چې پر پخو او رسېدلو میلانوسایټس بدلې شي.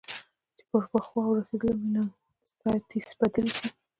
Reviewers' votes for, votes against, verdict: 1, 2, rejected